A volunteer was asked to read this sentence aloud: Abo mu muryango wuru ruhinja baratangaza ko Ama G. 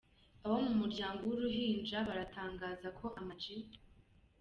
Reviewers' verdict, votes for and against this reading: accepted, 2, 0